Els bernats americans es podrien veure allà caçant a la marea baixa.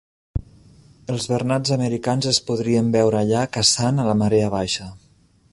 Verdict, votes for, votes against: accepted, 3, 0